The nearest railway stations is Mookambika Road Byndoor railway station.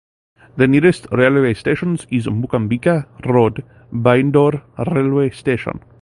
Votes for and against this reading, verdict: 2, 0, accepted